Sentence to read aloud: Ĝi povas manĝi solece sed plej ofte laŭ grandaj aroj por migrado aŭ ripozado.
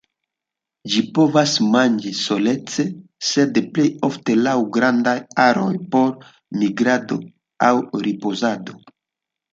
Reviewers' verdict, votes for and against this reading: accepted, 2, 1